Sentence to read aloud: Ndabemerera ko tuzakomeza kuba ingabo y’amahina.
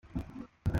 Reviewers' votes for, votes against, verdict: 0, 2, rejected